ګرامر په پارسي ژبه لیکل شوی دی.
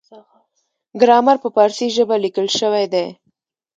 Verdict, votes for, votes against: rejected, 1, 2